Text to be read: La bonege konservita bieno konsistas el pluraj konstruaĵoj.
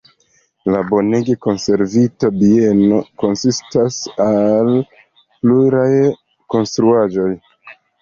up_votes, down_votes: 1, 2